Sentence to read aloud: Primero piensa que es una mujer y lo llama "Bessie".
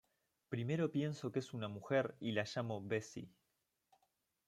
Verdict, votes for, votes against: rejected, 0, 2